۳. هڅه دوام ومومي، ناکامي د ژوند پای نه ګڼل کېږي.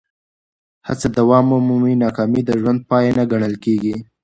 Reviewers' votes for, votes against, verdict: 0, 2, rejected